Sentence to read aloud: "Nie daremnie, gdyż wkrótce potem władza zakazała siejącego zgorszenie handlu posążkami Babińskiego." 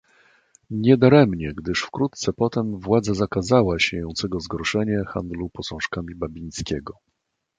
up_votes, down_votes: 2, 0